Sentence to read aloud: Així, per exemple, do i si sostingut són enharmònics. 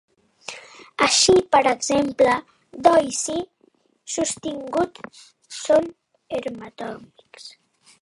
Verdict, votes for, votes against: rejected, 0, 2